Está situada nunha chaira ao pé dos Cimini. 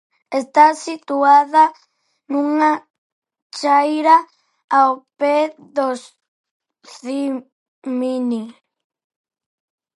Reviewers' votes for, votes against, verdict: 0, 4, rejected